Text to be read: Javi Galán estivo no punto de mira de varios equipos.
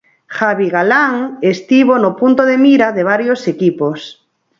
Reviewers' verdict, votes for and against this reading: accepted, 4, 0